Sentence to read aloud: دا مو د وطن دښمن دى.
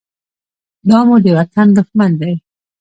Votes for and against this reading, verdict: 2, 0, accepted